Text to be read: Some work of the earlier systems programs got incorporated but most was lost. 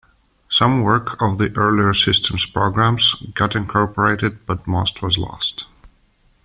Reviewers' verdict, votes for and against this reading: accepted, 2, 0